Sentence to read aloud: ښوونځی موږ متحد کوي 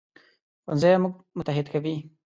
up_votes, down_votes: 2, 0